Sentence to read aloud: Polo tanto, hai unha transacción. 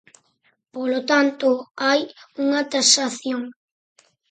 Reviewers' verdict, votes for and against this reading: rejected, 0, 4